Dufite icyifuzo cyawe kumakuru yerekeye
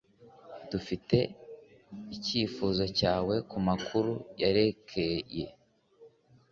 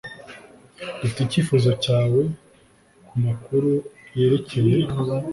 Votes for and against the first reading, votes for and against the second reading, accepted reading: 2, 0, 1, 2, first